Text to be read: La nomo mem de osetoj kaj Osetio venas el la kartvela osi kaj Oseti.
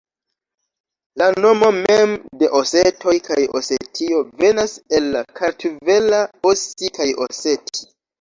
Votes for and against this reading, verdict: 0, 2, rejected